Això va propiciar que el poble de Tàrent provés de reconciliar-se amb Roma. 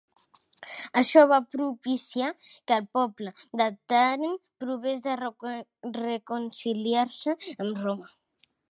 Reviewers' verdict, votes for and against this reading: rejected, 1, 2